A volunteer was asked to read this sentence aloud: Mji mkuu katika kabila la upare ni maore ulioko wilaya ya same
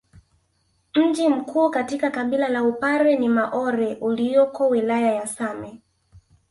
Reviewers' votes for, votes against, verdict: 3, 0, accepted